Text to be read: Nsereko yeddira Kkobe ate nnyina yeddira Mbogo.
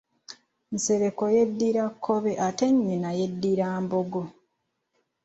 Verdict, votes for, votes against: accepted, 2, 0